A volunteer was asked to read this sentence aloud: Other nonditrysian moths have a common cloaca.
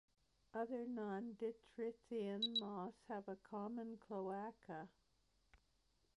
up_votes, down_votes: 2, 0